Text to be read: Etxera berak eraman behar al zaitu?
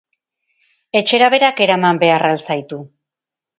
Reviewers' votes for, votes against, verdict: 2, 0, accepted